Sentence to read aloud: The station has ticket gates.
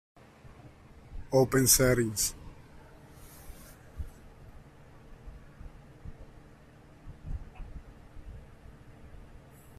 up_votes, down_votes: 0, 2